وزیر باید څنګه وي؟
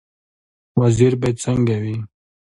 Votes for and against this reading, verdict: 2, 0, accepted